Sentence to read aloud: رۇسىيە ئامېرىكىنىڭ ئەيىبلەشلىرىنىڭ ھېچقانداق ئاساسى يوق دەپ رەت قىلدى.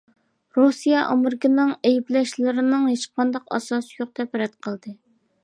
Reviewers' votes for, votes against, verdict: 2, 0, accepted